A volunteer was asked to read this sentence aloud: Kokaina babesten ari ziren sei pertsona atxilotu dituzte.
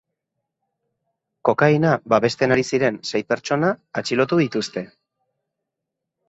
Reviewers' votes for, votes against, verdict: 2, 0, accepted